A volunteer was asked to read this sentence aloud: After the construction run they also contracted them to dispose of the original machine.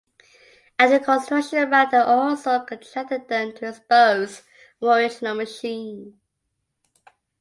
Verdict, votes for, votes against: rejected, 0, 2